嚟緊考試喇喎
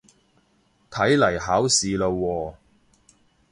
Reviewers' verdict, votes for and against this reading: rejected, 0, 2